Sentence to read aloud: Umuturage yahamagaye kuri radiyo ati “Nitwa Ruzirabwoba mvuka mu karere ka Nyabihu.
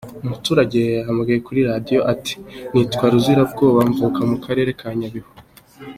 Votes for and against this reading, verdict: 2, 1, accepted